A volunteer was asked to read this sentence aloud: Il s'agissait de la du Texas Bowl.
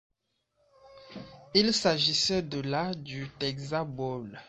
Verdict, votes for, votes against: rejected, 0, 2